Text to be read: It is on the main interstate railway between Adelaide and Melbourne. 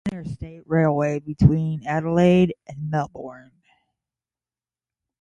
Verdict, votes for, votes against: rejected, 0, 5